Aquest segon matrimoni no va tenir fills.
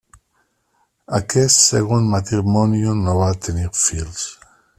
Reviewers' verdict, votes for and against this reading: rejected, 1, 2